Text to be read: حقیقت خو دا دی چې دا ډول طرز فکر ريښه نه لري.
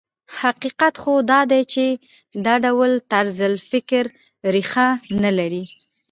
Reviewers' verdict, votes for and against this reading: accepted, 2, 0